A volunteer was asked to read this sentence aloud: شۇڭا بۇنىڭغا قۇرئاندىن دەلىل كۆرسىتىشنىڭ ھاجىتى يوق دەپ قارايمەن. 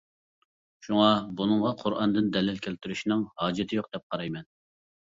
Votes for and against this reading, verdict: 1, 2, rejected